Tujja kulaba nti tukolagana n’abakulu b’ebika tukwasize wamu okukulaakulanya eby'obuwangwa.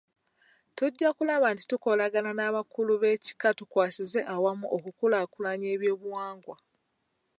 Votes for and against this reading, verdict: 1, 2, rejected